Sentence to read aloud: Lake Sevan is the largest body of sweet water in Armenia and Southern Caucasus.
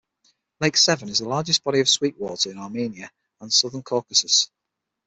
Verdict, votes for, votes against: accepted, 6, 3